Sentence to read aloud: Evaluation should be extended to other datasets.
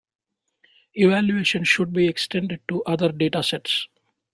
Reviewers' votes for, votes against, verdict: 3, 0, accepted